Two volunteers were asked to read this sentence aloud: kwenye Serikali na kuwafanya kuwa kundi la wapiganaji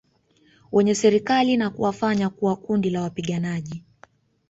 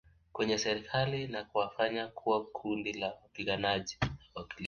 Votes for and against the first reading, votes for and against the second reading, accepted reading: 3, 2, 1, 2, first